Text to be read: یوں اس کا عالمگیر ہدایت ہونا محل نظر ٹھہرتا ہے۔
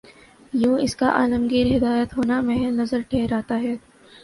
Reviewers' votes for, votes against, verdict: 2, 1, accepted